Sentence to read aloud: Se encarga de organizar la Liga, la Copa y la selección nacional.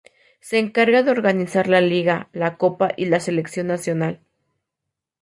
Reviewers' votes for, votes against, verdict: 2, 0, accepted